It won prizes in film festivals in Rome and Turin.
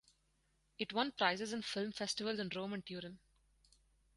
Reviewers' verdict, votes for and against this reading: accepted, 4, 0